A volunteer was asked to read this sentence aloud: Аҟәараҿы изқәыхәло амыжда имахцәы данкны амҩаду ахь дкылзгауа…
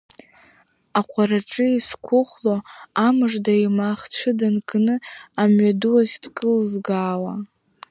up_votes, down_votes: 2, 0